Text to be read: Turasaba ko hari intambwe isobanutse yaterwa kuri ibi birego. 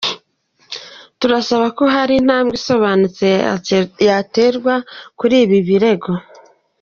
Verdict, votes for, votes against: rejected, 2, 3